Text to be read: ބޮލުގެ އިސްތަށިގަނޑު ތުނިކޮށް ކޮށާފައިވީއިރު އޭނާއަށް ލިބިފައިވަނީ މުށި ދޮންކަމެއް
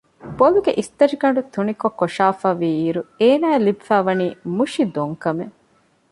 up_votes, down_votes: 2, 0